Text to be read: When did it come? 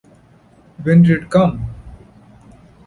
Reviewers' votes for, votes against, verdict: 1, 2, rejected